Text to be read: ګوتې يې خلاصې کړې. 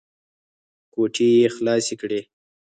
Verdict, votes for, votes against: rejected, 0, 4